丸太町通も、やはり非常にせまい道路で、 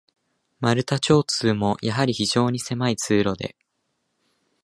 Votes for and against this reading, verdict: 0, 2, rejected